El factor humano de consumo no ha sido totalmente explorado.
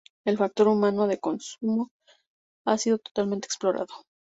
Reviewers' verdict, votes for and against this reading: accepted, 2, 0